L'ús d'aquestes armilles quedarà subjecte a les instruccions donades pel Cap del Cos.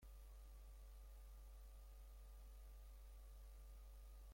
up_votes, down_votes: 0, 3